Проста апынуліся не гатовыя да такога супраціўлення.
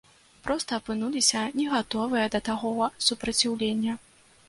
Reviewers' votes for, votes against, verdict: 1, 2, rejected